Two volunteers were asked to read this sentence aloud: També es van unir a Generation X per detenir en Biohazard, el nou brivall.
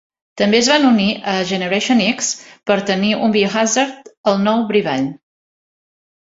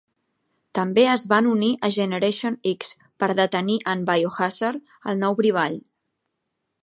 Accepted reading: second